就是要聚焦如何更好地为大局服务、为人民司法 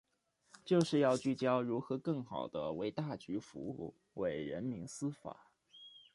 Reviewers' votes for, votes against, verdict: 1, 2, rejected